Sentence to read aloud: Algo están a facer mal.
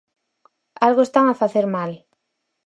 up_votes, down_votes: 4, 0